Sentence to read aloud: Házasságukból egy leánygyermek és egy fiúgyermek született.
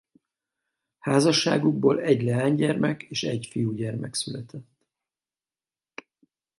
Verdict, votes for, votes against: accepted, 4, 2